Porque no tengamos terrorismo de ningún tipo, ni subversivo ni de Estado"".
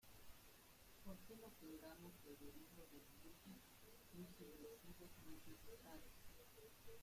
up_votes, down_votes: 0, 2